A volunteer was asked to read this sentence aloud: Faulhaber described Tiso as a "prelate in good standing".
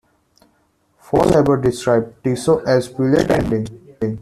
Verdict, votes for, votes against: rejected, 0, 2